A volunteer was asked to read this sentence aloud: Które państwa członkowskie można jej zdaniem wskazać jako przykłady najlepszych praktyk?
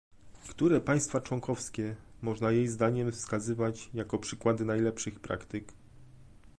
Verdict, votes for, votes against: rejected, 0, 2